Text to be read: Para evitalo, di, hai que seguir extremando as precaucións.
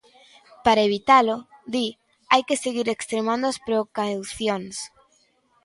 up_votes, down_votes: 0, 2